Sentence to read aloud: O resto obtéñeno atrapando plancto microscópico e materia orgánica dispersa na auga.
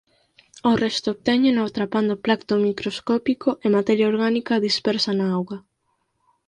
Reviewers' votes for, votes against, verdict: 4, 0, accepted